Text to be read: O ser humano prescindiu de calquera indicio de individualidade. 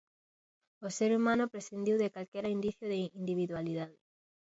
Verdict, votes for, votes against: accepted, 2, 0